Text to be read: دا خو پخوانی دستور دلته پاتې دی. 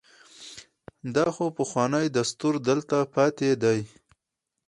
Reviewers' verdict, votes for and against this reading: accepted, 4, 0